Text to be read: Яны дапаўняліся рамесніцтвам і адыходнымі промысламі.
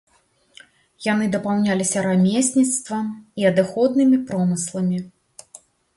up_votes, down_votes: 2, 0